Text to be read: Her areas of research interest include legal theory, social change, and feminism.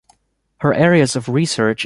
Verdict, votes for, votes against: rejected, 0, 2